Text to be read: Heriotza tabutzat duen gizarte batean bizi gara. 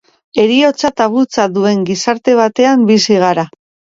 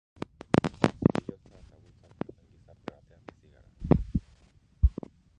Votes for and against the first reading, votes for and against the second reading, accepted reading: 2, 1, 0, 2, first